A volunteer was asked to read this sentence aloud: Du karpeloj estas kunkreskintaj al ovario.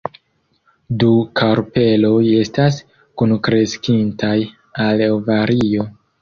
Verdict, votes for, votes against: accepted, 2, 0